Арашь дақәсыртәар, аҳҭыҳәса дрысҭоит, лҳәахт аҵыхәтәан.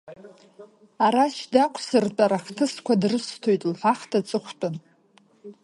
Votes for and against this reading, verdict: 2, 0, accepted